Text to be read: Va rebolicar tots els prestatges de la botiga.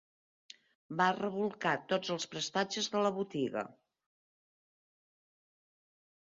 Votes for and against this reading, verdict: 2, 3, rejected